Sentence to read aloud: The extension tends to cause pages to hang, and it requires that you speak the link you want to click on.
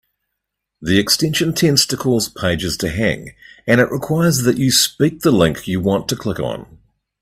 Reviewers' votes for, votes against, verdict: 2, 0, accepted